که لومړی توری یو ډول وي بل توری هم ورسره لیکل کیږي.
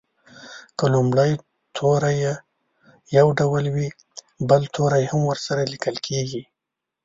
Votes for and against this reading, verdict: 0, 2, rejected